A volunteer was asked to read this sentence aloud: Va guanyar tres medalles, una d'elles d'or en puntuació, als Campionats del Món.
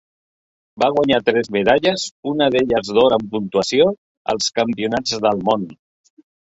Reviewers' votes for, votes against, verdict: 4, 0, accepted